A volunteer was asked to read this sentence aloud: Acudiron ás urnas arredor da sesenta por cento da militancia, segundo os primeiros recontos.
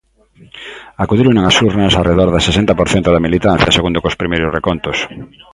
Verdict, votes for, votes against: rejected, 1, 2